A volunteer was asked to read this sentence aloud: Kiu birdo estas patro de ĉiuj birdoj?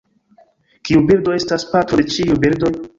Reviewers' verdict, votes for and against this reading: rejected, 0, 2